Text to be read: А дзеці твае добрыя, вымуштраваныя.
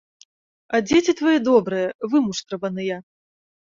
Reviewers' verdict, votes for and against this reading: accepted, 2, 0